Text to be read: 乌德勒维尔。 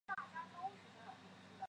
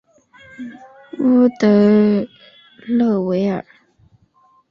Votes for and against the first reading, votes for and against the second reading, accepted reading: 1, 4, 3, 0, second